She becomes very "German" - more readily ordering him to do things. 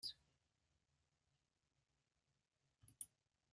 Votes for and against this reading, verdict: 0, 2, rejected